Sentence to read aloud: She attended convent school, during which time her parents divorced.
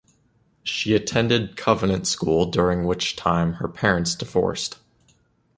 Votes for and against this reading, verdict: 1, 2, rejected